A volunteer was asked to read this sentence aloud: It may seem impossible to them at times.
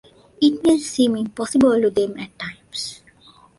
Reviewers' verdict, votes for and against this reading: accepted, 2, 0